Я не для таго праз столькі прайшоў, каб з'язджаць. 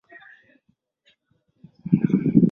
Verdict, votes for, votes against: rejected, 0, 2